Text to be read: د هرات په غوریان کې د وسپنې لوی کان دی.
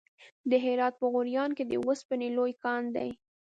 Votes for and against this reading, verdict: 1, 2, rejected